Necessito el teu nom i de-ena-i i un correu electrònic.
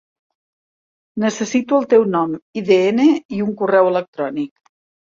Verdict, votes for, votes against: rejected, 1, 2